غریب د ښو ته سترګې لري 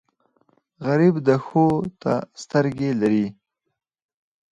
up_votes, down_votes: 0, 4